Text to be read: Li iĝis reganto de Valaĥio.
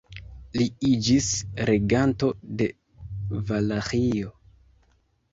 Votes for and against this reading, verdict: 0, 2, rejected